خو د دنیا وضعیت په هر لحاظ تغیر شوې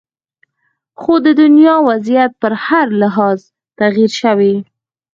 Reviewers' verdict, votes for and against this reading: accepted, 4, 0